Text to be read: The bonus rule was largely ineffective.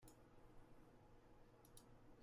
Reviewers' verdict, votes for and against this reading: rejected, 0, 2